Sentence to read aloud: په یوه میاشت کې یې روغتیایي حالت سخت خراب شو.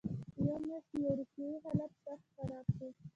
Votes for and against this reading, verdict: 1, 2, rejected